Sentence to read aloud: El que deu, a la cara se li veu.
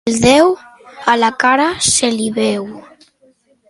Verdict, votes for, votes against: rejected, 0, 2